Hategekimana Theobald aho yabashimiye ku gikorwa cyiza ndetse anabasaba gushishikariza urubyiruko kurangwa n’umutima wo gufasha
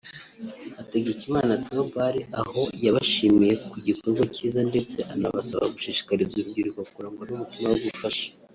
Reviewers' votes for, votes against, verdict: 2, 0, accepted